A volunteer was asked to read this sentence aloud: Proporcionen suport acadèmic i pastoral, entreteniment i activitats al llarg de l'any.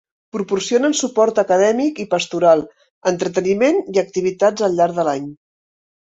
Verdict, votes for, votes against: accepted, 3, 0